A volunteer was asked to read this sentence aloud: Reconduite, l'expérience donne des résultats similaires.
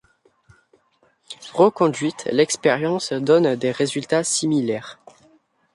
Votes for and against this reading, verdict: 2, 0, accepted